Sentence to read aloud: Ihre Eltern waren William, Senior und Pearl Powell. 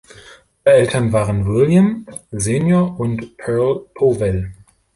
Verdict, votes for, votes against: rejected, 0, 3